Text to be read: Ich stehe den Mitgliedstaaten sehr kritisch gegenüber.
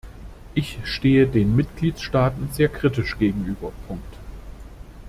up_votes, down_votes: 0, 2